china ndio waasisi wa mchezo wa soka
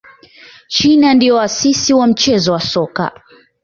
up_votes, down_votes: 2, 1